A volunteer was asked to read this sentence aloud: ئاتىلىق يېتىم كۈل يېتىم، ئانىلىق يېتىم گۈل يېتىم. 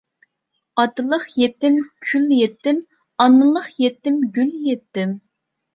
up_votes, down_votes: 2, 0